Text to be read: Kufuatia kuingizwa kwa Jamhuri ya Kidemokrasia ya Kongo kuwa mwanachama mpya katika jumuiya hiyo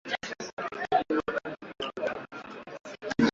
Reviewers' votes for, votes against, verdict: 0, 2, rejected